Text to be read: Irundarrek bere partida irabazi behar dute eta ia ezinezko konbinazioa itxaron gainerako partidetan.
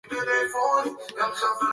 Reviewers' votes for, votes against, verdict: 0, 3, rejected